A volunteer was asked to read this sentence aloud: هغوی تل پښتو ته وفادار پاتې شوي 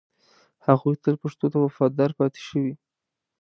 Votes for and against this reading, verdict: 2, 0, accepted